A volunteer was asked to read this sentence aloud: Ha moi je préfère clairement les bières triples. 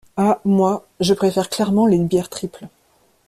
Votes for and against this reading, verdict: 2, 0, accepted